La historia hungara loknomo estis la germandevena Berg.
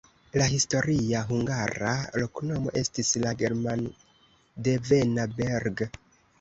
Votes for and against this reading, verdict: 1, 2, rejected